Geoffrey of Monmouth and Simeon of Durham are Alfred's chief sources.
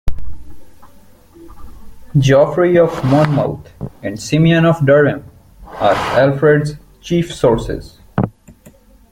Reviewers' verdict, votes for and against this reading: accepted, 2, 0